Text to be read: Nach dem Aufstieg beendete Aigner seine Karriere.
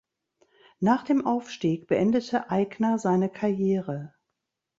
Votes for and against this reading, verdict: 3, 0, accepted